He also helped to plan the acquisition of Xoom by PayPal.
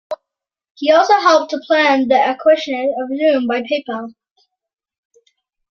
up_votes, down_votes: 0, 2